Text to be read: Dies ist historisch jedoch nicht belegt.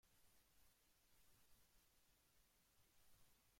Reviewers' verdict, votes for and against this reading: rejected, 0, 2